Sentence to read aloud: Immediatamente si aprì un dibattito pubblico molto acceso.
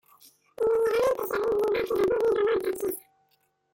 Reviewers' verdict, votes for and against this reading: rejected, 0, 2